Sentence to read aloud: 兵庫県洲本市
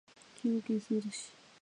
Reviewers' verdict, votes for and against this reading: rejected, 0, 2